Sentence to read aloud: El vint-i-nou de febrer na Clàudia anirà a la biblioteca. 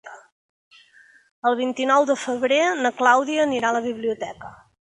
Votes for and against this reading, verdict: 3, 0, accepted